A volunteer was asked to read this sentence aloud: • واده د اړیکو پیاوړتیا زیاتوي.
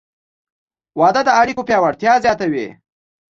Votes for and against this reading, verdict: 2, 0, accepted